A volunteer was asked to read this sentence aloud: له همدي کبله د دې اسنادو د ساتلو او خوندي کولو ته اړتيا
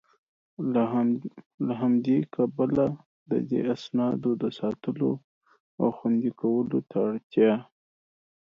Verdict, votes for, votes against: accepted, 2, 0